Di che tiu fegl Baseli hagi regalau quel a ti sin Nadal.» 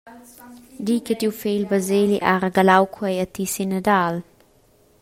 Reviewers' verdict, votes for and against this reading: rejected, 0, 2